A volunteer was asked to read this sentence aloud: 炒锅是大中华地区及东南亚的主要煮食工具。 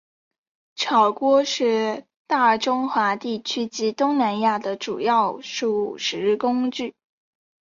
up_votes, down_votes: 4, 2